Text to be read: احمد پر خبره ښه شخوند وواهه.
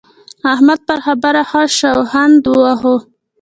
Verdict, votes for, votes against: rejected, 1, 2